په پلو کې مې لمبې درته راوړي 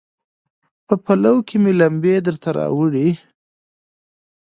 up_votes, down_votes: 2, 0